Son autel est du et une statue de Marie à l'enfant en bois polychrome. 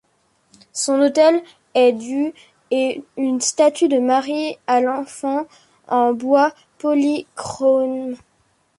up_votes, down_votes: 1, 2